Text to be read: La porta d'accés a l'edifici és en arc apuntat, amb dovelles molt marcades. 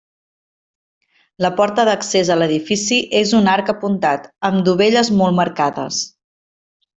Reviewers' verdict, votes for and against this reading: rejected, 1, 2